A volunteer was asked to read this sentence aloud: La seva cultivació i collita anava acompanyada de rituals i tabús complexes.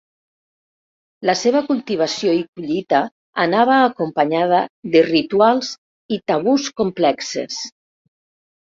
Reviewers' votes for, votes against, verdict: 1, 2, rejected